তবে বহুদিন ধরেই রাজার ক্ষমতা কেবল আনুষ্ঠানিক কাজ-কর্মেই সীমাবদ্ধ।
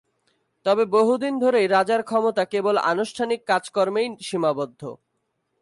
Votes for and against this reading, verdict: 22, 0, accepted